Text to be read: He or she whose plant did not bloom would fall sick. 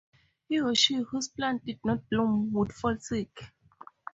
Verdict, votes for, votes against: accepted, 4, 0